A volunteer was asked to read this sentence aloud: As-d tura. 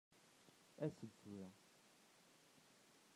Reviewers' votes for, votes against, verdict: 1, 2, rejected